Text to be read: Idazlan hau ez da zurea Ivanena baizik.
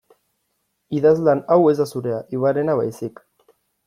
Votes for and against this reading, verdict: 2, 0, accepted